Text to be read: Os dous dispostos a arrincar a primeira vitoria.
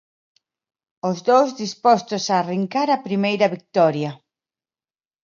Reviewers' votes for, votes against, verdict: 2, 1, accepted